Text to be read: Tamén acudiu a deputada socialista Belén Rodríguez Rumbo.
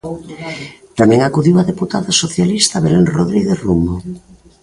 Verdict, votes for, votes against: rejected, 1, 2